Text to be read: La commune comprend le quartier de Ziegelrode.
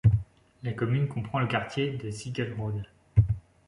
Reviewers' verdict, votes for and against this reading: rejected, 1, 2